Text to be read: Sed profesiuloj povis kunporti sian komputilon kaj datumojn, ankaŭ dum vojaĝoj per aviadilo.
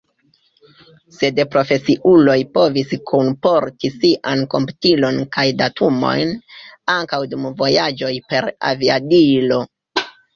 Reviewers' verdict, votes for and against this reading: accepted, 2, 0